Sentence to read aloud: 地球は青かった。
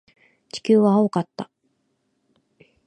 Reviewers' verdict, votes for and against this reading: accepted, 2, 0